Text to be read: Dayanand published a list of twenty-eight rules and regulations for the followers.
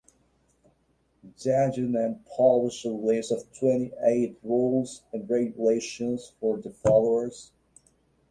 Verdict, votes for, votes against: rejected, 1, 2